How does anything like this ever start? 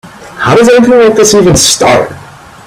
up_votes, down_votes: 0, 2